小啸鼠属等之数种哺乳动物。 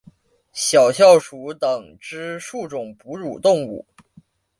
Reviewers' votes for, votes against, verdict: 2, 0, accepted